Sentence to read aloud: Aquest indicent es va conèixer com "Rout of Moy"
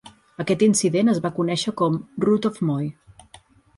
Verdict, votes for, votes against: accepted, 6, 0